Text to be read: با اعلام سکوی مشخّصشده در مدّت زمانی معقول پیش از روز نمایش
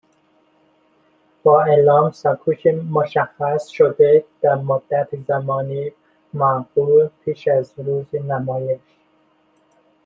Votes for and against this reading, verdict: 1, 2, rejected